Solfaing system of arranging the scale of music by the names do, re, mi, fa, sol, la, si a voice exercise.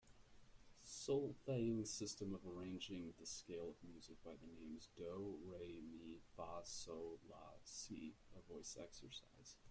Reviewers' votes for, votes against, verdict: 1, 2, rejected